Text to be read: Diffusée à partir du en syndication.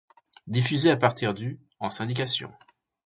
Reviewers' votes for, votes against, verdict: 2, 0, accepted